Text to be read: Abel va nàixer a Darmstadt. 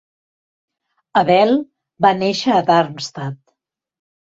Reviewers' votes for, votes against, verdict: 0, 2, rejected